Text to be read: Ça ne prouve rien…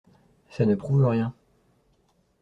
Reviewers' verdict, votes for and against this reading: accepted, 2, 0